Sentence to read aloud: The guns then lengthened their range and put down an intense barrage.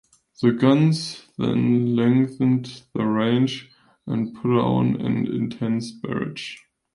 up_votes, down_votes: 0, 2